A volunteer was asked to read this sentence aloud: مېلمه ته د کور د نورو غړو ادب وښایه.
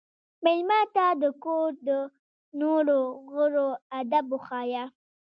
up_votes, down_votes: 2, 0